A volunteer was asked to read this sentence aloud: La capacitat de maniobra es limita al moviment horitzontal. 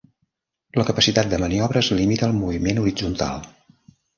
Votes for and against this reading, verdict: 3, 0, accepted